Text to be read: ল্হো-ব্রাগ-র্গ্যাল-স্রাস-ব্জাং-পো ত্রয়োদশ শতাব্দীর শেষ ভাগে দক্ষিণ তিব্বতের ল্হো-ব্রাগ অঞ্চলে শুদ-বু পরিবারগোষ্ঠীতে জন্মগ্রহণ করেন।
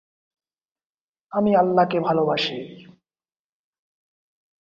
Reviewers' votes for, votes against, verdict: 0, 2, rejected